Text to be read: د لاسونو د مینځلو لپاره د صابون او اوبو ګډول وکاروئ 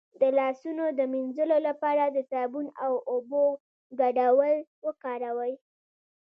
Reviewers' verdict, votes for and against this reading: rejected, 1, 2